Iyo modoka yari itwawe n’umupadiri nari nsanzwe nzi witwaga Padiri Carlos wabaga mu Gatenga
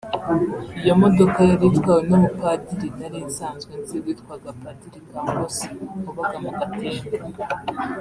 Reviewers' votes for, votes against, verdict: 0, 2, rejected